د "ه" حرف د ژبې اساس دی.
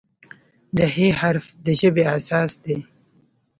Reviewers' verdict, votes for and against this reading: accepted, 2, 1